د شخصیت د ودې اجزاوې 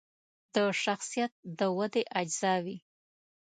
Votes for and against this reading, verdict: 0, 2, rejected